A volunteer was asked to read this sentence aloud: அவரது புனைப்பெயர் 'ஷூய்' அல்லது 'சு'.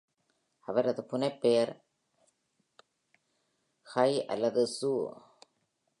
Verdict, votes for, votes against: rejected, 2, 3